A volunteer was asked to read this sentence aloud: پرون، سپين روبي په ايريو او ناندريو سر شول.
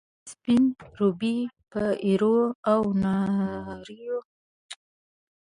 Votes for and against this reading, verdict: 0, 2, rejected